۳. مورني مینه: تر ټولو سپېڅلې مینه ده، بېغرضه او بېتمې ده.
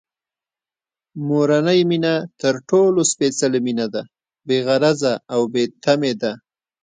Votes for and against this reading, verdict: 0, 2, rejected